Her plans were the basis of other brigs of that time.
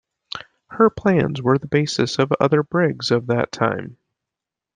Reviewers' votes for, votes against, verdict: 2, 0, accepted